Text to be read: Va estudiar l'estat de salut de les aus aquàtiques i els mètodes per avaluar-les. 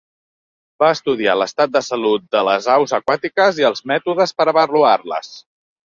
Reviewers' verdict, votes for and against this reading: accepted, 3, 0